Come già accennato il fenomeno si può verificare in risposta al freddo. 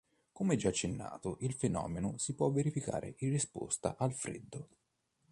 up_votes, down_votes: 2, 0